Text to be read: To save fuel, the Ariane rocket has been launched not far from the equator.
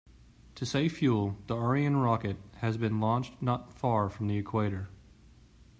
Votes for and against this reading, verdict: 2, 0, accepted